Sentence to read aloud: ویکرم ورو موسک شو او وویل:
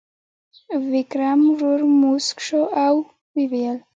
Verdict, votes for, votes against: accepted, 2, 0